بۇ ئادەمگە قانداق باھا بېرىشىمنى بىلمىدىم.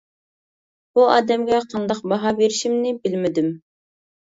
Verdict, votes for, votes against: accepted, 2, 0